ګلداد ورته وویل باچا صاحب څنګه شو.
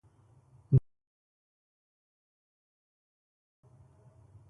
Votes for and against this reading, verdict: 0, 2, rejected